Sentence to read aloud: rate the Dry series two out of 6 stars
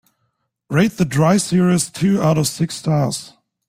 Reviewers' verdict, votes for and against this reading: rejected, 0, 2